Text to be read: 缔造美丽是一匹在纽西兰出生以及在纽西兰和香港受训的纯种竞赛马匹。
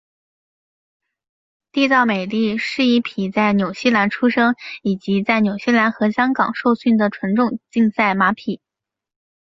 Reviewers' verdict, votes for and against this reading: accepted, 4, 0